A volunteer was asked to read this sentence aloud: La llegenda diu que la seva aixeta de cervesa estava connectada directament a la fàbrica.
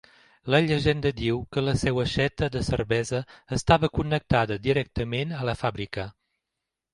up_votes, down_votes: 0, 2